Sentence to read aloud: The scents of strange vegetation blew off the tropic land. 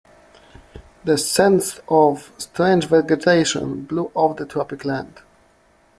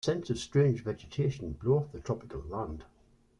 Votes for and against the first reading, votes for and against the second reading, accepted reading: 2, 0, 0, 2, first